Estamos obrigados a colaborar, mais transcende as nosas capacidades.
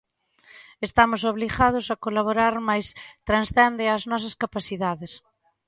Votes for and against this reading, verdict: 2, 1, accepted